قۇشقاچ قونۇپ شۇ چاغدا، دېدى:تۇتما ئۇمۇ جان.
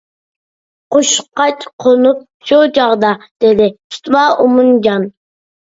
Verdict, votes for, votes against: rejected, 0, 2